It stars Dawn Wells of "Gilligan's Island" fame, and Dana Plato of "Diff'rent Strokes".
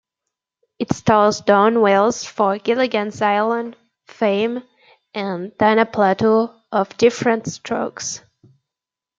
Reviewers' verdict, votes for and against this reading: rejected, 0, 2